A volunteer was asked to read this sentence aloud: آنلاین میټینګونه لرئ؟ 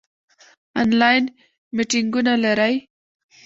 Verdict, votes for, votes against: accepted, 2, 0